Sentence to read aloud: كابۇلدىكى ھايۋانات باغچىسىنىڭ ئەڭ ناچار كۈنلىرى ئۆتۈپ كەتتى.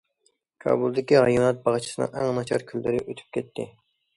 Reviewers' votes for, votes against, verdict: 2, 0, accepted